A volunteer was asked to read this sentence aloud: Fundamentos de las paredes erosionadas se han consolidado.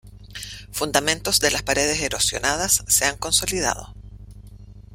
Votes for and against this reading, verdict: 2, 1, accepted